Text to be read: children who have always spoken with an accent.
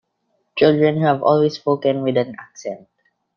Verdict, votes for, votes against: rejected, 0, 2